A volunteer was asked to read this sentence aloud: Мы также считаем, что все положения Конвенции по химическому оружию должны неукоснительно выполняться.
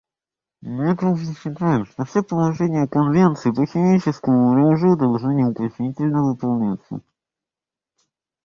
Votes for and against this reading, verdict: 0, 2, rejected